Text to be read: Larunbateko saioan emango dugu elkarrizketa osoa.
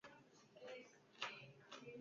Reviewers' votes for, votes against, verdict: 0, 2, rejected